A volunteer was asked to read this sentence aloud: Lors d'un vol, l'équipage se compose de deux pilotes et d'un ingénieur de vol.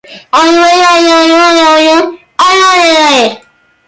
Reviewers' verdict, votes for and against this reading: rejected, 0, 2